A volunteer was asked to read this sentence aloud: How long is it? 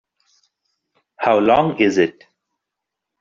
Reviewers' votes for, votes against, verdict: 2, 0, accepted